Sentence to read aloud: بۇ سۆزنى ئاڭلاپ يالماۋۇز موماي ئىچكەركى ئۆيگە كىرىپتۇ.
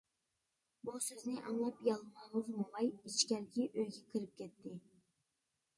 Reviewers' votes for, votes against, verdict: 0, 2, rejected